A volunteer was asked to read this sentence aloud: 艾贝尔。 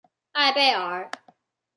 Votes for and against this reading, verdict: 2, 0, accepted